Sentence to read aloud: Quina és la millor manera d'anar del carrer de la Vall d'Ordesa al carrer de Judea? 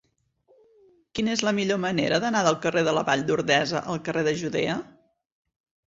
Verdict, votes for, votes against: accepted, 6, 0